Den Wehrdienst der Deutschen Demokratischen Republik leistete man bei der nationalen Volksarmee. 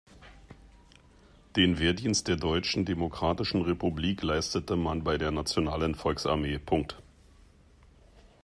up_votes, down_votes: 1, 2